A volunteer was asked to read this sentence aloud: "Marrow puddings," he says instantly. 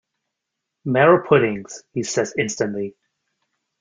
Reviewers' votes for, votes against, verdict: 2, 0, accepted